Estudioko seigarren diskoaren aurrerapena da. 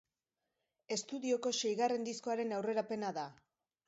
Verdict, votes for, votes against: accepted, 2, 0